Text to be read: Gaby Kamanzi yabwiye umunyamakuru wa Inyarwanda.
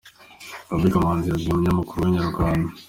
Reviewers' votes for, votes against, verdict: 2, 0, accepted